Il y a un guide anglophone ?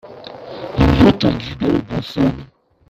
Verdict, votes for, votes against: rejected, 0, 2